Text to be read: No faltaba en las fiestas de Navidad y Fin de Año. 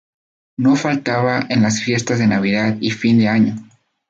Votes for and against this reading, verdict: 10, 0, accepted